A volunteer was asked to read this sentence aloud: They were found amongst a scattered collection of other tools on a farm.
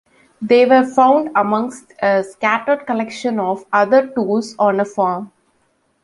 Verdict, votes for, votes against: accepted, 2, 0